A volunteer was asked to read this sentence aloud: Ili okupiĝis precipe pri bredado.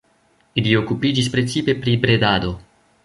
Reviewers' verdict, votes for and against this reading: accepted, 2, 0